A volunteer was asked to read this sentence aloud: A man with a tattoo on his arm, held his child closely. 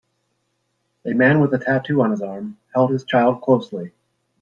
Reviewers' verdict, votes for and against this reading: accepted, 2, 0